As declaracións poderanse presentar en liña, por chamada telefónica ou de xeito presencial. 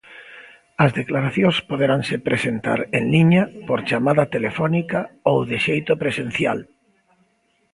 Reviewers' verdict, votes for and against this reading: accepted, 2, 0